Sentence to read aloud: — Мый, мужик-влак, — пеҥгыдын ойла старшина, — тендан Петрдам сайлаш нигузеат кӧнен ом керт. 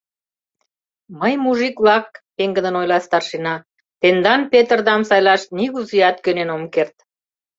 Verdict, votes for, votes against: accepted, 2, 0